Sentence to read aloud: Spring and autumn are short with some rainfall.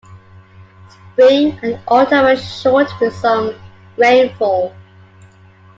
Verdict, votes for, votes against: accepted, 2, 1